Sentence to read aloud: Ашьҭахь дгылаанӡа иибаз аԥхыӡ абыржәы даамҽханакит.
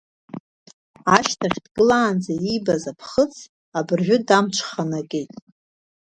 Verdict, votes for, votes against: rejected, 0, 2